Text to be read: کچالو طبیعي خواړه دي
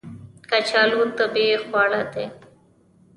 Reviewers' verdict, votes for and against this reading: accepted, 2, 1